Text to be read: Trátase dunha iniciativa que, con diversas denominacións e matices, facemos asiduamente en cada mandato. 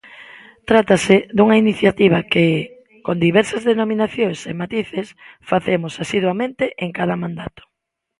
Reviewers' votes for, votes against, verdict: 2, 0, accepted